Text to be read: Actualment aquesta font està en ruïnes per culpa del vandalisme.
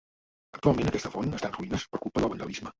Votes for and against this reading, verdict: 0, 2, rejected